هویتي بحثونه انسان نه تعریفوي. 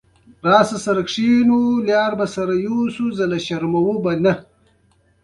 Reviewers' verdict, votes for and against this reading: rejected, 0, 2